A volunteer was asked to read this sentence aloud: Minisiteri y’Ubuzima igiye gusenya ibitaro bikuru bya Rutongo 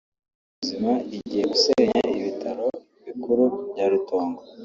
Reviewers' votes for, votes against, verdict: 1, 2, rejected